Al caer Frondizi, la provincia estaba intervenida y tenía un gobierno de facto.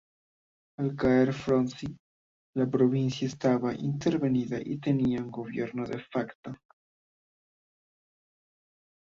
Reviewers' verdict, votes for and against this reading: rejected, 0, 2